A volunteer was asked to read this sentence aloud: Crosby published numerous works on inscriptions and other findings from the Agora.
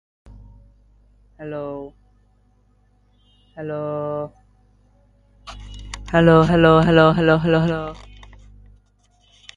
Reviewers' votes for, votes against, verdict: 0, 2, rejected